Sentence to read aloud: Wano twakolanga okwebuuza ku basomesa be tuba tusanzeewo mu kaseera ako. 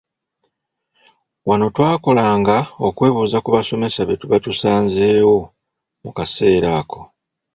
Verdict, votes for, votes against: accepted, 2, 0